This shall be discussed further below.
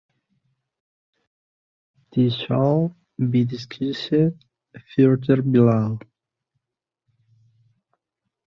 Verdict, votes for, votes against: rejected, 1, 2